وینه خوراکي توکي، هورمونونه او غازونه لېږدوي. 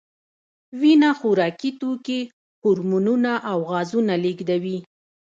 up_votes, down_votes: 2, 0